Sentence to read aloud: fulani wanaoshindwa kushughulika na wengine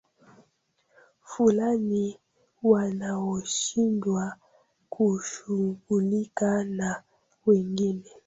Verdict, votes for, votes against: rejected, 0, 2